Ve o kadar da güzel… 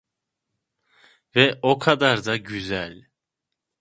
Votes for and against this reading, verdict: 2, 0, accepted